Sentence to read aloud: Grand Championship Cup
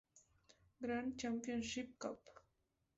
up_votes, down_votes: 2, 2